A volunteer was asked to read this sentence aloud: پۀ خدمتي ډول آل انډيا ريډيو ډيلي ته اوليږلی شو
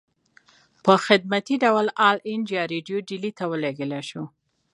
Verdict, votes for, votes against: accepted, 2, 0